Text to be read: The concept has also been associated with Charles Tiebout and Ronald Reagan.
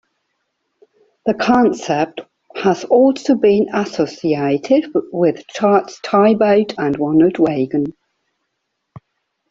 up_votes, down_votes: 0, 2